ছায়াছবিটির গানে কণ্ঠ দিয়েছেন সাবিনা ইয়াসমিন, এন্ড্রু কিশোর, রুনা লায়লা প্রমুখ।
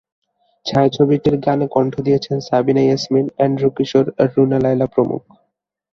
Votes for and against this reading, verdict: 2, 0, accepted